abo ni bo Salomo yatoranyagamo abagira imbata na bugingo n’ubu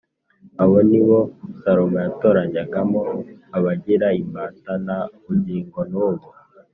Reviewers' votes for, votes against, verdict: 4, 0, accepted